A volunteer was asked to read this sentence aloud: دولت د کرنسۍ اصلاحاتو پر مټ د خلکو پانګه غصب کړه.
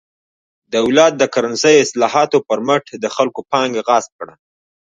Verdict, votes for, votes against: rejected, 0, 2